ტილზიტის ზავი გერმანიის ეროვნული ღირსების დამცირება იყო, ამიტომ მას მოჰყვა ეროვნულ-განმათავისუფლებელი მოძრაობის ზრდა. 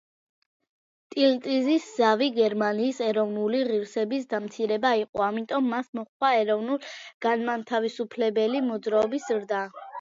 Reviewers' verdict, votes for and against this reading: rejected, 1, 2